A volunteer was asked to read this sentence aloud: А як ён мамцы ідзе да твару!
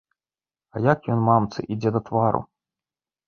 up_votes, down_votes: 2, 0